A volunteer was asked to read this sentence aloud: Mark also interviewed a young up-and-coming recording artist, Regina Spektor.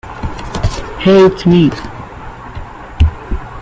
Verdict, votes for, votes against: rejected, 1, 2